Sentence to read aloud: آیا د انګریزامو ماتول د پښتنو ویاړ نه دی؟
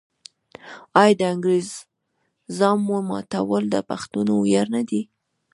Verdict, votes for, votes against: rejected, 0, 2